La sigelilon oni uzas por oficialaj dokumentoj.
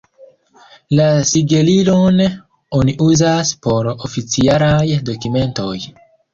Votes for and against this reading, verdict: 3, 1, accepted